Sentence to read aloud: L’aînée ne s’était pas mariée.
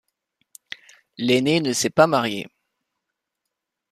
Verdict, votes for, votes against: rejected, 0, 2